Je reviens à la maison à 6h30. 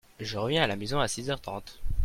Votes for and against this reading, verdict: 0, 2, rejected